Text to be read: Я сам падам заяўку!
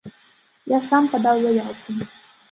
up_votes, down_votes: 0, 2